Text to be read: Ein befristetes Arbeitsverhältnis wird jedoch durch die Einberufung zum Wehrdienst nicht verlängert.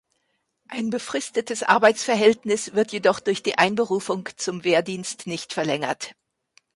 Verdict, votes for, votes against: accepted, 2, 0